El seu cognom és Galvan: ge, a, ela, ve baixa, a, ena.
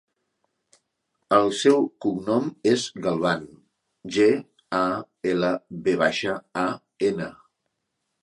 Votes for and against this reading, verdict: 3, 0, accepted